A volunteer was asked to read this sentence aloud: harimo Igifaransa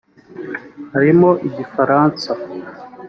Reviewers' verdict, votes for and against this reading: accepted, 2, 0